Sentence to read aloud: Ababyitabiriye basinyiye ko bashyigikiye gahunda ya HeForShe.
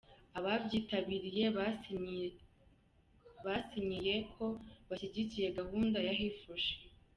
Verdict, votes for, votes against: rejected, 1, 2